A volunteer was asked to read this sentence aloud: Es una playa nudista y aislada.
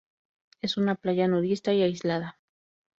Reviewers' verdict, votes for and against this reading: accepted, 2, 0